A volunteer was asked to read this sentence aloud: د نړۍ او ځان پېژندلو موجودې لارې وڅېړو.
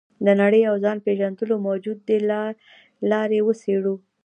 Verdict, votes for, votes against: rejected, 0, 2